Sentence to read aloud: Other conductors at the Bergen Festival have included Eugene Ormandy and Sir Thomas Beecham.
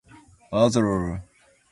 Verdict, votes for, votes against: rejected, 0, 2